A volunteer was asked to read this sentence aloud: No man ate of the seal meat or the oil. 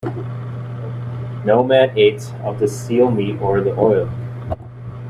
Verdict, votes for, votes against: rejected, 1, 2